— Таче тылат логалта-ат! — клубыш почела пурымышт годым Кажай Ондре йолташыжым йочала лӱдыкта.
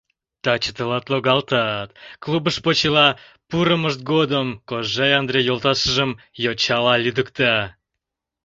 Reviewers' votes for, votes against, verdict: 1, 2, rejected